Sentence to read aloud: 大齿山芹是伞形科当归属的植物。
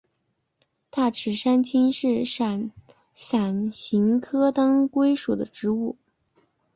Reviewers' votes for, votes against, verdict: 0, 2, rejected